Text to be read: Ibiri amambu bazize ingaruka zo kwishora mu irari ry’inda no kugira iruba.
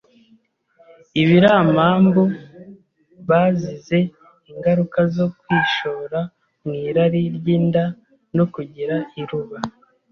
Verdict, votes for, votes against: accepted, 2, 0